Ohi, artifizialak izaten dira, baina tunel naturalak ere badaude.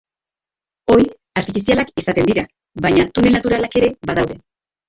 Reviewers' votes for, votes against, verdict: 1, 2, rejected